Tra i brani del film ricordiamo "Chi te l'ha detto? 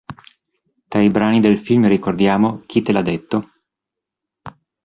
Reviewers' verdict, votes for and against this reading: accepted, 2, 0